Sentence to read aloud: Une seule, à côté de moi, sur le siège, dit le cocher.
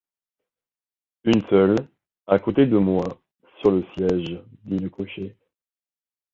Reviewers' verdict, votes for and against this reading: accepted, 2, 0